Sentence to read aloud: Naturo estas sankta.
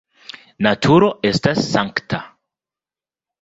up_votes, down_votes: 2, 0